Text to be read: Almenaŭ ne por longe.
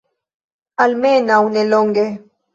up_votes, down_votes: 0, 2